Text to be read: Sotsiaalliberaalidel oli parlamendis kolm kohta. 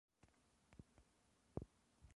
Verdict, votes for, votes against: rejected, 0, 2